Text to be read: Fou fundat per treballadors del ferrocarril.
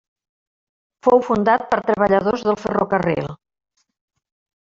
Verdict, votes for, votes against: accepted, 3, 0